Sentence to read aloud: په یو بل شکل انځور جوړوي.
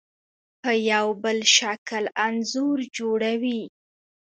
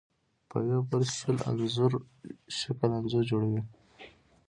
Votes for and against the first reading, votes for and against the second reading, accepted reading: 2, 1, 0, 2, first